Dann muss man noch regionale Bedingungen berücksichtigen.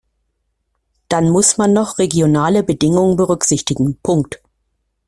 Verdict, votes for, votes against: rejected, 0, 2